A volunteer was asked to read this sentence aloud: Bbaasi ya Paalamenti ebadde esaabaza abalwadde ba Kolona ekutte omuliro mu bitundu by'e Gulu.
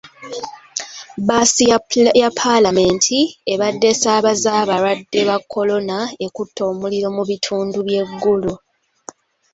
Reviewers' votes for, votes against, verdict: 0, 2, rejected